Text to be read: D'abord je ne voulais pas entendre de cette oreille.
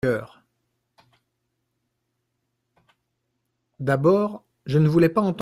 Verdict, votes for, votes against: rejected, 0, 3